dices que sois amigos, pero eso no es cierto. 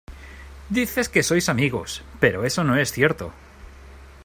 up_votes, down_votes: 2, 0